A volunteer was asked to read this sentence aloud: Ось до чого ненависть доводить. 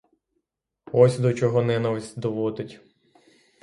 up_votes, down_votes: 3, 3